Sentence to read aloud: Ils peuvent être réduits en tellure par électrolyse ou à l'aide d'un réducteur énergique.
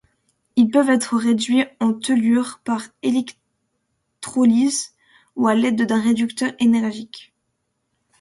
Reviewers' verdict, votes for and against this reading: accepted, 2, 0